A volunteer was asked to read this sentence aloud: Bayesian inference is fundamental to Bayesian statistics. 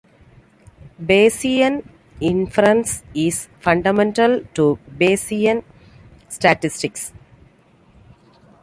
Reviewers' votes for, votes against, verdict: 2, 0, accepted